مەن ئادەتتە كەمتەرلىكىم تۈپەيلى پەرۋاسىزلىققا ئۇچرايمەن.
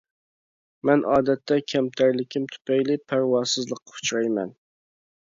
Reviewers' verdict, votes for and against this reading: accepted, 2, 1